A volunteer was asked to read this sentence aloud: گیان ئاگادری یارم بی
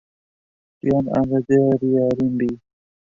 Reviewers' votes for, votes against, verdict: 0, 2, rejected